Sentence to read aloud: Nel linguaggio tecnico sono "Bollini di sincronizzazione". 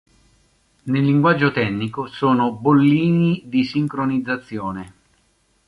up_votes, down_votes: 1, 2